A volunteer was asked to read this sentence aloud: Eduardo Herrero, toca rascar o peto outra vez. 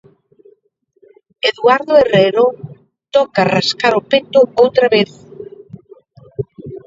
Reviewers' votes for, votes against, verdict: 1, 2, rejected